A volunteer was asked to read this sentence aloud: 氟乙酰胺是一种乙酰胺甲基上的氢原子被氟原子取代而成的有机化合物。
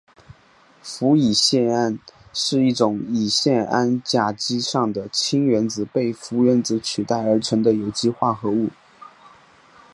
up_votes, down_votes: 2, 0